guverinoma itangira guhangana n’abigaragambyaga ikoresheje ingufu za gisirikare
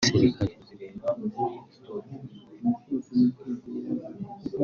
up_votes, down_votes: 1, 2